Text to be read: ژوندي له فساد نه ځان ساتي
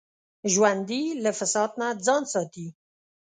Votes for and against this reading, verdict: 5, 0, accepted